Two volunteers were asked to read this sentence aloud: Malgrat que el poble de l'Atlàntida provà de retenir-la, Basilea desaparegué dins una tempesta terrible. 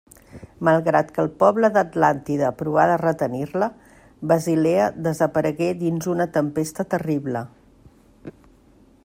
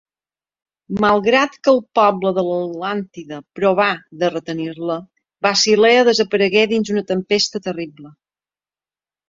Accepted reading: second